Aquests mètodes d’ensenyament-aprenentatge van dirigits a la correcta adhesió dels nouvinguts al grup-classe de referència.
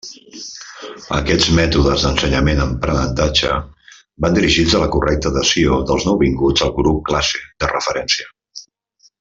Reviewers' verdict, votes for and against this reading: rejected, 0, 2